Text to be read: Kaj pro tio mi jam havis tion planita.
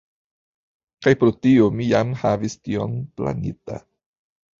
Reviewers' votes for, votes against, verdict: 2, 3, rejected